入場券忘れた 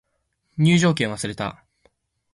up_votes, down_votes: 2, 0